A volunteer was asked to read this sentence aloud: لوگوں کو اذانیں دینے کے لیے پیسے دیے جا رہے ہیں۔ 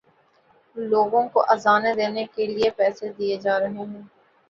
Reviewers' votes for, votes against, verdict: 2, 0, accepted